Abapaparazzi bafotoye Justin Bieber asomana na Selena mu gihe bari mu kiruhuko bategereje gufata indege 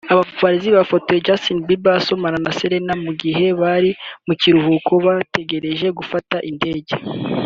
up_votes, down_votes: 2, 0